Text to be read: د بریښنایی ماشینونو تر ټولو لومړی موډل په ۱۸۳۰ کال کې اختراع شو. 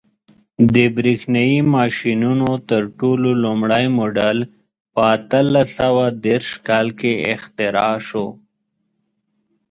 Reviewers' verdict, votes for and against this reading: rejected, 0, 2